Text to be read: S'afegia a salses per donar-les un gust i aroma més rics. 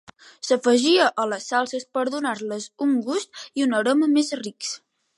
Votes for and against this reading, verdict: 0, 2, rejected